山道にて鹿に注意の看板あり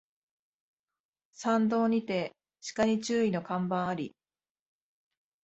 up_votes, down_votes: 2, 0